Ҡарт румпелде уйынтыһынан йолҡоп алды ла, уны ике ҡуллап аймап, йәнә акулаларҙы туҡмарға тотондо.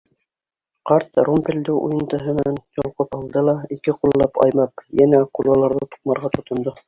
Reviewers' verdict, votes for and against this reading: rejected, 1, 3